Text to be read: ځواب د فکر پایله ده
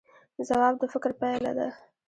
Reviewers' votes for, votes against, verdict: 1, 2, rejected